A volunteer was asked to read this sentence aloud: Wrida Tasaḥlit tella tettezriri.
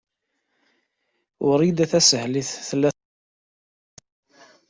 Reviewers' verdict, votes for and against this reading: rejected, 0, 2